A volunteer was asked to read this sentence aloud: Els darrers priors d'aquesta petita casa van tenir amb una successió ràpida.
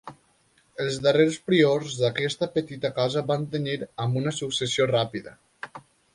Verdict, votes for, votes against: accepted, 2, 0